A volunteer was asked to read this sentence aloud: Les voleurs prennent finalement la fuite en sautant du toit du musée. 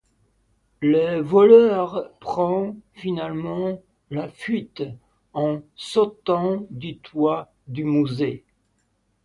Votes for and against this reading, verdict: 0, 2, rejected